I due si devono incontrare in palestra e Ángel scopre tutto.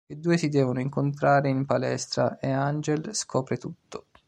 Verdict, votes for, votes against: accepted, 2, 0